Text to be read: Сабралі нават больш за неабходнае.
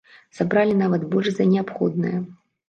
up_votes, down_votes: 2, 0